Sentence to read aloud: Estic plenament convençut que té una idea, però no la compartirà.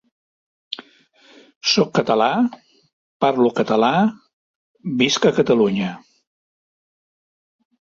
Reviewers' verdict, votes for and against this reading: rejected, 0, 2